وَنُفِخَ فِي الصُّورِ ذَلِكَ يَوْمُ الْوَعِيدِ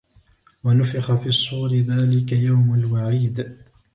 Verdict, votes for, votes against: accepted, 2, 0